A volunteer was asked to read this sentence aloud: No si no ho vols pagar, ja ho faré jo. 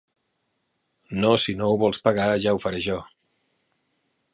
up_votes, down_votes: 3, 1